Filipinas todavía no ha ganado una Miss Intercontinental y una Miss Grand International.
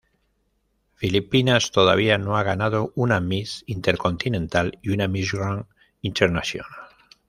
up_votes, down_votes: 1, 2